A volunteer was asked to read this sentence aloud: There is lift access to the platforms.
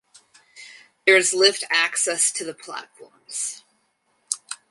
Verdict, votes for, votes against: accepted, 4, 0